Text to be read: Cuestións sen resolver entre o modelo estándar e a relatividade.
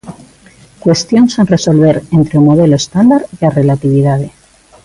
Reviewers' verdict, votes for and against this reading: accepted, 2, 0